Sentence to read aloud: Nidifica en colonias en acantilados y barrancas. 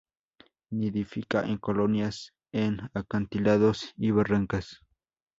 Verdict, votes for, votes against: accepted, 2, 0